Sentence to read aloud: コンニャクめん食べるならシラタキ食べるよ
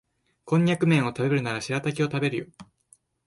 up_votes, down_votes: 1, 2